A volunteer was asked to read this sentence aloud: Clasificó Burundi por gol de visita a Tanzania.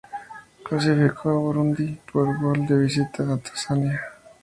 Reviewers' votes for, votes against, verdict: 0, 2, rejected